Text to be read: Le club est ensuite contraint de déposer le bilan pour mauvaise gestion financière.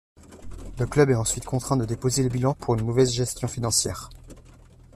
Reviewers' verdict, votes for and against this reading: rejected, 1, 2